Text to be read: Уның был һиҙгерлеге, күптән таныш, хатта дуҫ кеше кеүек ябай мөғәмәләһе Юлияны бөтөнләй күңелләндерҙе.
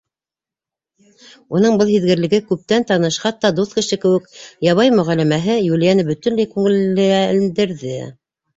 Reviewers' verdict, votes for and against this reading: rejected, 0, 2